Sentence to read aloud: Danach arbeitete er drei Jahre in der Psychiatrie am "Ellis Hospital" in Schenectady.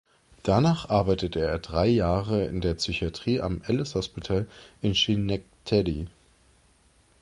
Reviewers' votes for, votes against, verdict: 2, 0, accepted